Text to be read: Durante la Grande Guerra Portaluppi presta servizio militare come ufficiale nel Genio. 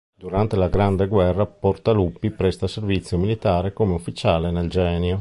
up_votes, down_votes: 2, 0